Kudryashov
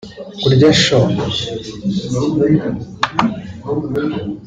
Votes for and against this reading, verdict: 1, 2, rejected